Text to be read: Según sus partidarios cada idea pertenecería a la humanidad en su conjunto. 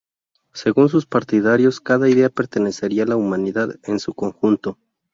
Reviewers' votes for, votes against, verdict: 2, 0, accepted